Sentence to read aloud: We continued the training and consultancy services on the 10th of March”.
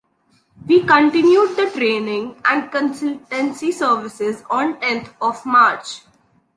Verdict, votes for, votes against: rejected, 0, 2